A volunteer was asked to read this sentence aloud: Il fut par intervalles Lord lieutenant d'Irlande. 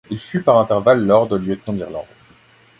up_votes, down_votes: 2, 1